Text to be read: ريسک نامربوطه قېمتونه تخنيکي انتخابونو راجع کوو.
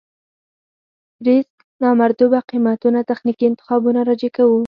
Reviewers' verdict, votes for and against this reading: rejected, 2, 4